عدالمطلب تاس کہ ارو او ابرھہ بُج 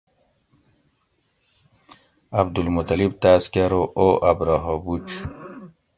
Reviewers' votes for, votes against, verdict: 2, 0, accepted